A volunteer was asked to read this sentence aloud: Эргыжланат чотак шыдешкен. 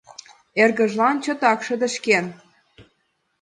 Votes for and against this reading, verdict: 2, 0, accepted